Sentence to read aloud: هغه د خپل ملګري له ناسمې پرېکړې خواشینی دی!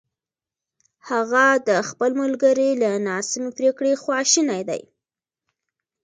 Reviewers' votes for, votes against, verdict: 2, 0, accepted